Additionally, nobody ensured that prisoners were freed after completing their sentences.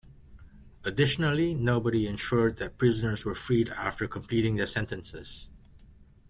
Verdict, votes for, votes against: rejected, 0, 2